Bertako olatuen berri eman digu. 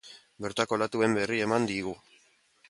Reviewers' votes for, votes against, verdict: 2, 0, accepted